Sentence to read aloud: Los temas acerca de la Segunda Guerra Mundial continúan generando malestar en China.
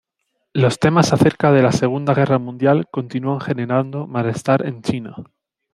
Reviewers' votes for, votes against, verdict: 2, 0, accepted